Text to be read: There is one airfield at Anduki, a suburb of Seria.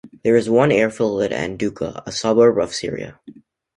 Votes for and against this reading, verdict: 2, 0, accepted